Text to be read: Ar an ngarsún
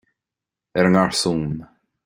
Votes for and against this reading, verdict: 2, 0, accepted